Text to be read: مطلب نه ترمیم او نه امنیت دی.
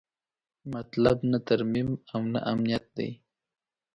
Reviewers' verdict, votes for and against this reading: accepted, 2, 0